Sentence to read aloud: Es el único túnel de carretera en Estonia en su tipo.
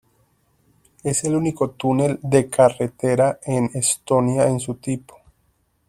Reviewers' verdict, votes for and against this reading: accepted, 2, 0